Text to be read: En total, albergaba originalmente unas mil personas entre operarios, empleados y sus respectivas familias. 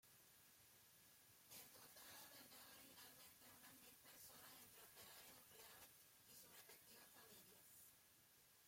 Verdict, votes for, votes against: rejected, 0, 2